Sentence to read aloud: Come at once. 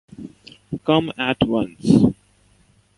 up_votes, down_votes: 1, 2